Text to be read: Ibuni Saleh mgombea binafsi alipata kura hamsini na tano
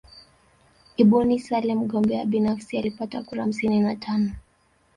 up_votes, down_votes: 2, 0